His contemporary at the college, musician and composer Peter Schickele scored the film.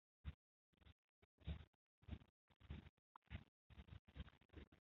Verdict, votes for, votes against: rejected, 0, 2